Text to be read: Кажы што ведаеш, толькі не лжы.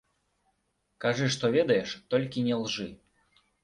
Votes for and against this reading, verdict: 2, 0, accepted